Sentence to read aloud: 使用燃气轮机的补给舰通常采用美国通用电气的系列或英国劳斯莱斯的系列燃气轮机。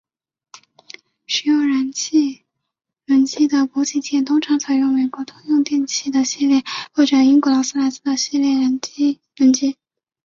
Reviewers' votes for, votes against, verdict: 2, 1, accepted